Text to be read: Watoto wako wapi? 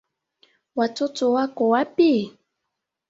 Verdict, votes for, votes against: rejected, 0, 2